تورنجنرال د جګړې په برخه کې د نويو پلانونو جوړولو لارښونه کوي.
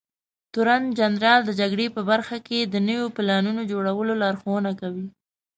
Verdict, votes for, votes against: accepted, 2, 0